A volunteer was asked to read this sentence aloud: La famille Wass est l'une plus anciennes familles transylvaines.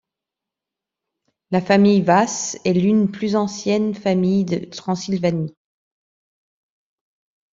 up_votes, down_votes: 1, 2